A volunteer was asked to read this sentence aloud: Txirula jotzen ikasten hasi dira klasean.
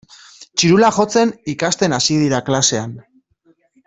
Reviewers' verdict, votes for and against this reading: accepted, 2, 0